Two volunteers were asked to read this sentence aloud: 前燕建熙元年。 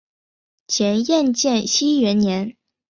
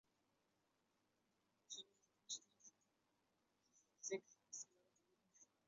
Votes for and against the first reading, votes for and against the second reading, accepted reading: 3, 0, 0, 5, first